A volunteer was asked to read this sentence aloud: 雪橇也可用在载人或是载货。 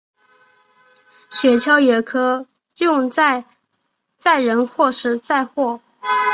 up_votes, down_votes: 3, 0